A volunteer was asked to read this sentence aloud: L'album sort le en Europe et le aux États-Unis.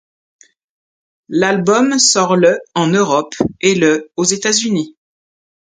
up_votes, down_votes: 2, 0